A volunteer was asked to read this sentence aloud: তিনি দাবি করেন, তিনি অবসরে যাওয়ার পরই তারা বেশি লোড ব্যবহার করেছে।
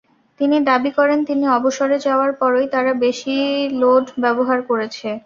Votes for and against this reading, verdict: 2, 0, accepted